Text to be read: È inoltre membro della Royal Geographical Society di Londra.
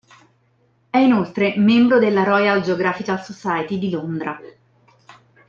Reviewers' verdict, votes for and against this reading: accepted, 2, 0